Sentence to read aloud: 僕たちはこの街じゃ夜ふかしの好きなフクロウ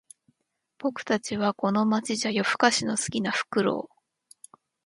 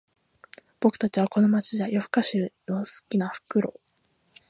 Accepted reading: first